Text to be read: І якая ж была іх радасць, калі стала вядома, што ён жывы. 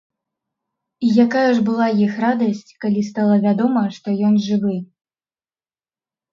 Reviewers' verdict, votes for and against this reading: accepted, 2, 0